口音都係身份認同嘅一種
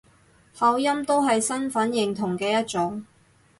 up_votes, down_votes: 6, 0